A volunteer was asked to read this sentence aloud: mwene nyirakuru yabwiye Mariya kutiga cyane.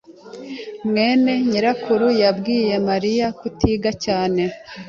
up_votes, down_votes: 2, 0